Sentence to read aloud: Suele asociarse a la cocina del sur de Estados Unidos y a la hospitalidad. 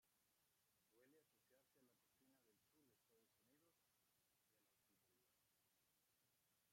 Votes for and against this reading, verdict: 0, 2, rejected